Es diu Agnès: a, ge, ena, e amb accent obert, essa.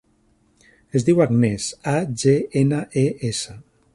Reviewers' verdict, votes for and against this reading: rejected, 0, 2